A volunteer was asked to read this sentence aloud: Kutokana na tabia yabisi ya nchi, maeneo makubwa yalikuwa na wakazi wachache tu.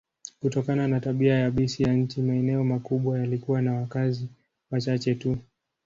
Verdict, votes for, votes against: accepted, 2, 0